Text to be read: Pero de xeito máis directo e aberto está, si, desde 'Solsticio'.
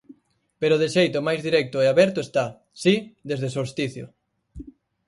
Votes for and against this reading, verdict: 4, 0, accepted